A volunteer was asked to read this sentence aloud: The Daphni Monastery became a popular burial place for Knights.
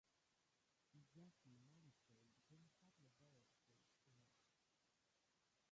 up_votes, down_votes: 0, 2